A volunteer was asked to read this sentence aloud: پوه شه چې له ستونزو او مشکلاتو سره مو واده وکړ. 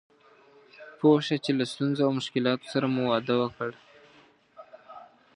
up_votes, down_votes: 1, 2